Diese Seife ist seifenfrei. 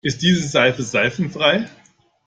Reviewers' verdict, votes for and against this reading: rejected, 0, 2